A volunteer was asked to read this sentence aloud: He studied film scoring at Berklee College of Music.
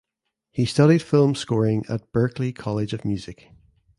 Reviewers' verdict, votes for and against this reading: accepted, 2, 0